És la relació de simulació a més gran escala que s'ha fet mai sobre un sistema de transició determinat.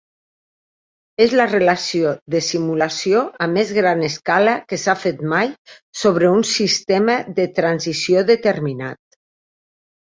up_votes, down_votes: 3, 0